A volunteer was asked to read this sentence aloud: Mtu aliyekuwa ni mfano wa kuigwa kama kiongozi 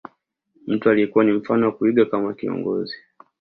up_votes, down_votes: 2, 0